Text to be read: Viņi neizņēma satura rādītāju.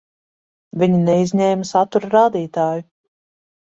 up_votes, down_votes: 1, 2